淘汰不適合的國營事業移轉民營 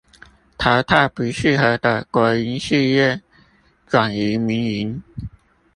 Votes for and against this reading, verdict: 0, 2, rejected